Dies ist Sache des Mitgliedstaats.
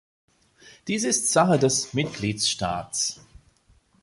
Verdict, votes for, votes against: rejected, 1, 2